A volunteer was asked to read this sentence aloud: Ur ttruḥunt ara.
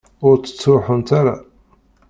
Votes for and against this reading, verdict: 1, 2, rejected